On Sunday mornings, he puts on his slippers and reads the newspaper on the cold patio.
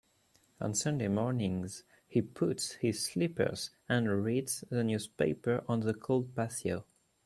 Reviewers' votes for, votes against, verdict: 1, 2, rejected